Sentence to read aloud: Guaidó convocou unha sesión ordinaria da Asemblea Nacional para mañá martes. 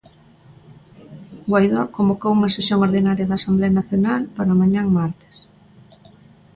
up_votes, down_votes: 1, 2